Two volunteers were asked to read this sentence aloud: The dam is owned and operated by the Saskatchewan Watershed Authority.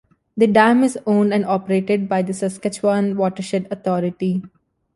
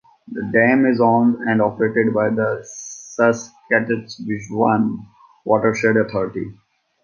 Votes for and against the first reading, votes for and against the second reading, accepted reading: 2, 0, 0, 2, first